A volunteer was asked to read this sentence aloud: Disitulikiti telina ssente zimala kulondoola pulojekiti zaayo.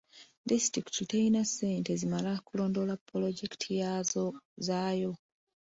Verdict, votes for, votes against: accepted, 2, 0